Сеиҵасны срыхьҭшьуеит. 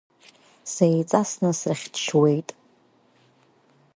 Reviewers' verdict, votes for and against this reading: accepted, 5, 4